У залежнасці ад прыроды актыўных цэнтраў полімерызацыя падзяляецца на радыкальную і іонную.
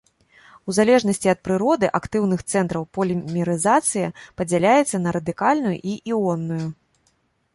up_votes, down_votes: 1, 2